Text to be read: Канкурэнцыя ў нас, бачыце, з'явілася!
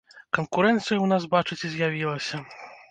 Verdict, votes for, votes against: accepted, 2, 0